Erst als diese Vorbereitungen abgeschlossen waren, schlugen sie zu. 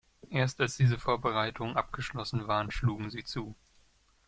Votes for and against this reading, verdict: 1, 2, rejected